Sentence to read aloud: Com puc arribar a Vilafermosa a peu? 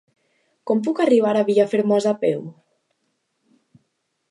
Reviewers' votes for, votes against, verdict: 2, 1, accepted